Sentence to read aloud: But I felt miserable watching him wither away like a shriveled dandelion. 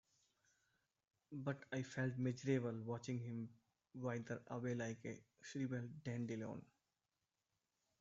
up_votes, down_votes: 1, 2